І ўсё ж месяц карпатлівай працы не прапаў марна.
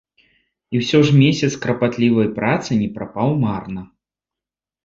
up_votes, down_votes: 1, 2